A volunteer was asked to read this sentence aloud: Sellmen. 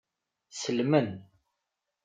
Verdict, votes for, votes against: accepted, 2, 0